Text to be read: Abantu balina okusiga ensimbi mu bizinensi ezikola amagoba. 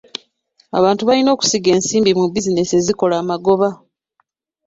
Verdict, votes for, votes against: rejected, 0, 2